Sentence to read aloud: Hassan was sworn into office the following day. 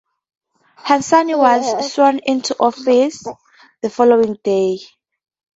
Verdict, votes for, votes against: rejected, 0, 2